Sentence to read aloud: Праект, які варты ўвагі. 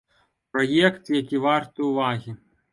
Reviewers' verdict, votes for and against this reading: accepted, 2, 0